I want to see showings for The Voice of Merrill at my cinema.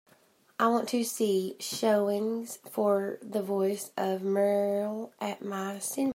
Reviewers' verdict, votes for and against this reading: rejected, 0, 2